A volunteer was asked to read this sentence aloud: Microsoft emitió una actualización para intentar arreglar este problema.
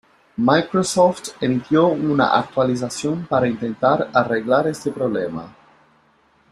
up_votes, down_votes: 2, 0